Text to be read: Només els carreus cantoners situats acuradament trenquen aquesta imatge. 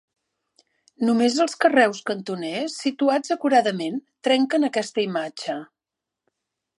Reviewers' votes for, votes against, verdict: 3, 0, accepted